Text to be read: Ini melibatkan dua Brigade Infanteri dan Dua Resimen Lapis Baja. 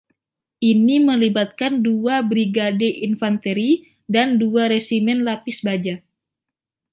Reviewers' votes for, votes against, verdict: 2, 0, accepted